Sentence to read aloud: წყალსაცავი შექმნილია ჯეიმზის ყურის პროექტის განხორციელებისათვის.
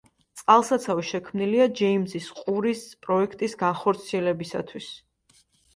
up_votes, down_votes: 2, 0